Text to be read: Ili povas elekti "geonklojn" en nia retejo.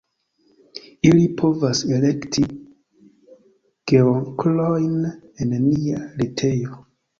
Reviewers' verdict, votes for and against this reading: accepted, 2, 1